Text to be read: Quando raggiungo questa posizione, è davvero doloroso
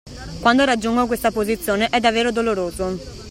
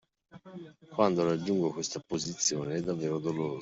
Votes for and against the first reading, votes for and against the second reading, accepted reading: 2, 0, 0, 2, first